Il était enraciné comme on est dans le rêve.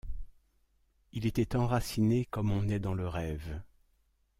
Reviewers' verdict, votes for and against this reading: accepted, 2, 0